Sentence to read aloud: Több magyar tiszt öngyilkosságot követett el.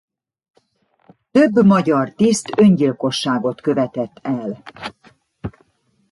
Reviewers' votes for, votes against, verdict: 1, 2, rejected